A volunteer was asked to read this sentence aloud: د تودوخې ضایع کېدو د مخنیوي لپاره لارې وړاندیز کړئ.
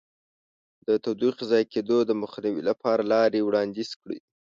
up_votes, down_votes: 2, 0